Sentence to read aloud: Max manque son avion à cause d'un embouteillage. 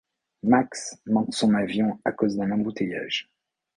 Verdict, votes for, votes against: accepted, 2, 0